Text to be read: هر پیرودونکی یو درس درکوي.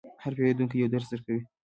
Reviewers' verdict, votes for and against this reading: accepted, 2, 0